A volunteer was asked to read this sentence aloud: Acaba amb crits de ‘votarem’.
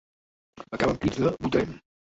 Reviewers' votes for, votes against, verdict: 0, 2, rejected